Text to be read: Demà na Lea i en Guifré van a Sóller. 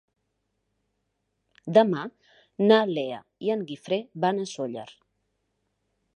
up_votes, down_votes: 4, 0